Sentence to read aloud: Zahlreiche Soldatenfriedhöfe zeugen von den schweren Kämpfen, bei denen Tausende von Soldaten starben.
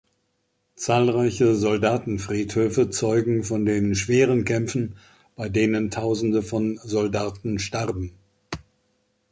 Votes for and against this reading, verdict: 2, 0, accepted